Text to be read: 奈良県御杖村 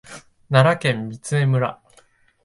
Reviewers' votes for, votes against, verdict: 2, 0, accepted